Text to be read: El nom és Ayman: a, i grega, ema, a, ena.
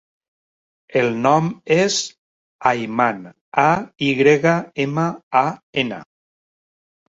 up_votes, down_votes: 3, 0